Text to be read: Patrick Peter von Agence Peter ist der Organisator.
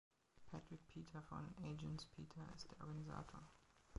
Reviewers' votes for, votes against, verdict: 0, 2, rejected